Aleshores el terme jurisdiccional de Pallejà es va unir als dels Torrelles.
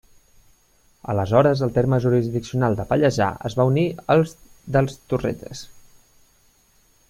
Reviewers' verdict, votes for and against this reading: accepted, 2, 0